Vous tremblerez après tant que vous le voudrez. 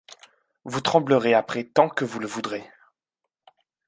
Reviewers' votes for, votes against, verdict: 2, 0, accepted